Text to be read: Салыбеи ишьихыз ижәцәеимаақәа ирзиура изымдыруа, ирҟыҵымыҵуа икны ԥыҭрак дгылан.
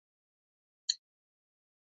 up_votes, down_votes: 0, 2